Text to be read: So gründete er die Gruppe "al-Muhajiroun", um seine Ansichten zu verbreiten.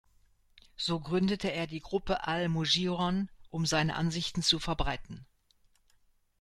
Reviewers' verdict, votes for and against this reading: rejected, 1, 2